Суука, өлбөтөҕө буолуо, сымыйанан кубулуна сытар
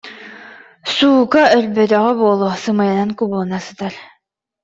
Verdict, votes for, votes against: accepted, 2, 0